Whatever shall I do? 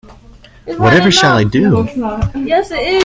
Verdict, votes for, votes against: rejected, 1, 2